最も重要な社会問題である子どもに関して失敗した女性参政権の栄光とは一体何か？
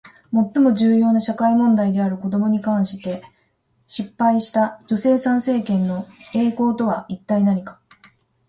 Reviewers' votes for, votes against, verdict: 2, 0, accepted